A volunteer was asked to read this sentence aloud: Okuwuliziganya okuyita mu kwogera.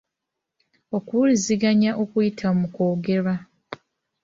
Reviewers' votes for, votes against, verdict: 1, 2, rejected